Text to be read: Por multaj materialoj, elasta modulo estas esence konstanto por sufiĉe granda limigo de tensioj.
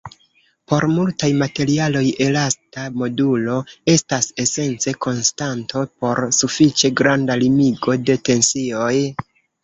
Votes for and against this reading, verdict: 0, 2, rejected